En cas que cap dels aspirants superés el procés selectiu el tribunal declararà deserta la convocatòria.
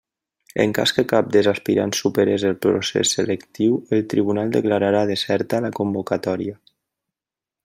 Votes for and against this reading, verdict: 2, 0, accepted